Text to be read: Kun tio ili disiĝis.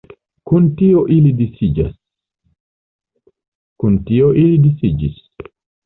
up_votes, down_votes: 1, 2